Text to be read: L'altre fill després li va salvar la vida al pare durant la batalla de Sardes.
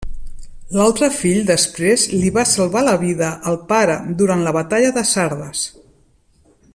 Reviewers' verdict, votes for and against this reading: accepted, 2, 0